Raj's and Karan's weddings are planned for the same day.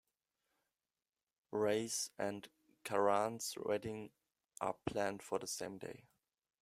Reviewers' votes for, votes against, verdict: 0, 2, rejected